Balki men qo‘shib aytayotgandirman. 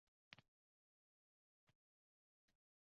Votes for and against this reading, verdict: 0, 2, rejected